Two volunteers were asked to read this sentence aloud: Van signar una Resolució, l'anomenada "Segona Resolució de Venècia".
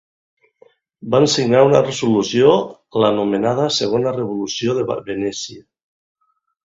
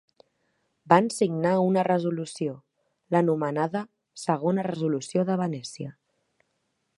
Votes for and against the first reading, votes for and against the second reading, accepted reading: 1, 3, 4, 0, second